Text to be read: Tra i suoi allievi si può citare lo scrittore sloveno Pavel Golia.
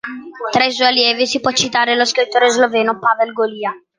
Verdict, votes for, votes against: accepted, 2, 0